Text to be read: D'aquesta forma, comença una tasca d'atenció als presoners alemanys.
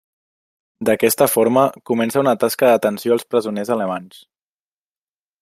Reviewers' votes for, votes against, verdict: 3, 0, accepted